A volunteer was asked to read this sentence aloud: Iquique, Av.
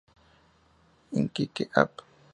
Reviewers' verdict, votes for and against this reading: accepted, 2, 0